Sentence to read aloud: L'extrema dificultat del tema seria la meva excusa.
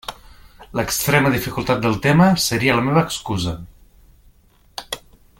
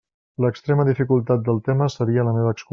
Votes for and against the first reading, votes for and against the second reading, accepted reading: 3, 1, 1, 2, first